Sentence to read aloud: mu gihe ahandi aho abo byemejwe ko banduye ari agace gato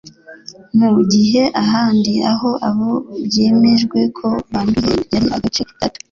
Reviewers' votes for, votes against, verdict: 0, 2, rejected